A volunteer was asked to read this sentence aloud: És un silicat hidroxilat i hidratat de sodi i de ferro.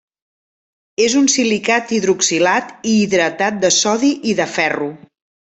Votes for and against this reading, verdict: 3, 0, accepted